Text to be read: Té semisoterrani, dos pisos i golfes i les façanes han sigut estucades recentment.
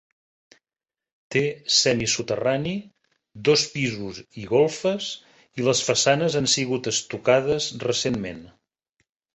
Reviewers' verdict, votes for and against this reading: accepted, 4, 0